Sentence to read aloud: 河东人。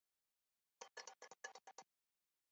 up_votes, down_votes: 0, 2